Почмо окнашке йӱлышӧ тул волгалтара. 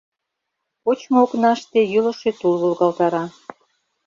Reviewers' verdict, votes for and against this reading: rejected, 0, 2